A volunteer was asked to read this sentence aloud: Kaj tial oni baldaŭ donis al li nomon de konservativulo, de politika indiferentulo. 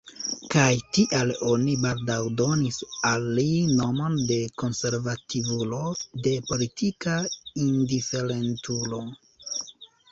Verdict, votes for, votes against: accepted, 2, 1